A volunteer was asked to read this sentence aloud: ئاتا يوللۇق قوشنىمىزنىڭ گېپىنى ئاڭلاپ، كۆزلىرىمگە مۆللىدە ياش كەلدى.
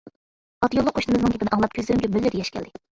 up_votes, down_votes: 0, 2